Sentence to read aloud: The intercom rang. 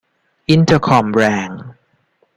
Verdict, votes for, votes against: rejected, 0, 2